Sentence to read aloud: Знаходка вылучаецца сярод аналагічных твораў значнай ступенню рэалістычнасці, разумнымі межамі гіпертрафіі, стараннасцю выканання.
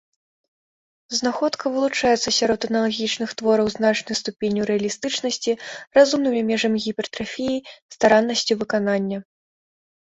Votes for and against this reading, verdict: 4, 0, accepted